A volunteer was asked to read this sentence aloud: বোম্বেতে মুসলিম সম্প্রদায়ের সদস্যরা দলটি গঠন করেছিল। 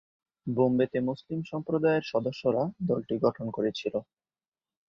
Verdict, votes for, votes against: accepted, 2, 1